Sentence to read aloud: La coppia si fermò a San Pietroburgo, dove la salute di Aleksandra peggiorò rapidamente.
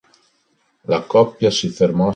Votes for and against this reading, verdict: 0, 3, rejected